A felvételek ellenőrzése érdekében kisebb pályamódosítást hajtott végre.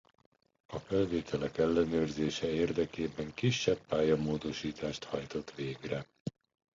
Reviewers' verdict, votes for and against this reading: accepted, 2, 1